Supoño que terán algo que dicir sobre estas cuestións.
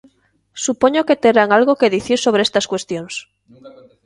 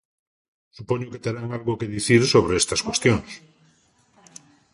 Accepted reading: second